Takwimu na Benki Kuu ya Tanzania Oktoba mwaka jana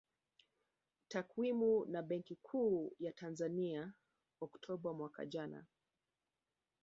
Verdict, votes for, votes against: rejected, 1, 2